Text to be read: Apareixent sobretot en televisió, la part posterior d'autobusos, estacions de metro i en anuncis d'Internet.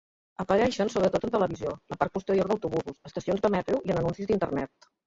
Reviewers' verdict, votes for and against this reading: rejected, 0, 2